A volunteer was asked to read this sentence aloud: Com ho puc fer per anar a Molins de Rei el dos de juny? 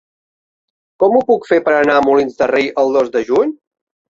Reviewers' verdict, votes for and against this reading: accepted, 3, 1